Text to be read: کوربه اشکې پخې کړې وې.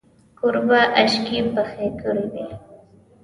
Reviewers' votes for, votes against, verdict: 2, 1, accepted